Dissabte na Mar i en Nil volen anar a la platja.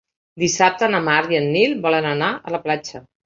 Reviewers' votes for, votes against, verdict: 3, 0, accepted